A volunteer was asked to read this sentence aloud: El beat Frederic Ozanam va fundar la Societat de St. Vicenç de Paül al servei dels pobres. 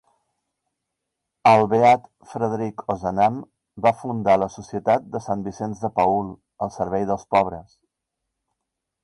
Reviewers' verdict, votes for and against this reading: accepted, 2, 1